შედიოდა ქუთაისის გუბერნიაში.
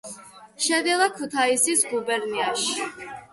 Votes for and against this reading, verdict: 0, 2, rejected